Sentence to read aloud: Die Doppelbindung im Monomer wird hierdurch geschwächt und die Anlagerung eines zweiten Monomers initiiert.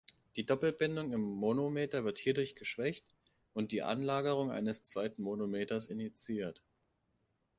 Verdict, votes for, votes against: rejected, 0, 2